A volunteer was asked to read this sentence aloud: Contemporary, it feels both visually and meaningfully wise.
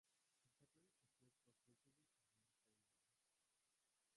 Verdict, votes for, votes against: rejected, 0, 3